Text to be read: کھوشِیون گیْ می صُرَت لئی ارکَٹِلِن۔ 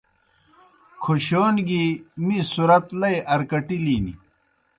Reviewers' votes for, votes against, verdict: 2, 0, accepted